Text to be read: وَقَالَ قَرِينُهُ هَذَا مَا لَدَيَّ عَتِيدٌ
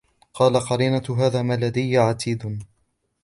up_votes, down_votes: 0, 2